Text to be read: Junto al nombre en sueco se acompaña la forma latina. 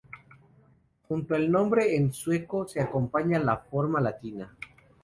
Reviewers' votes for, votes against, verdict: 2, 0, accepted